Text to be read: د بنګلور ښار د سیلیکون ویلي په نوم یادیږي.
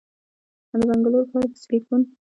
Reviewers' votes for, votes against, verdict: 1, 2, rejected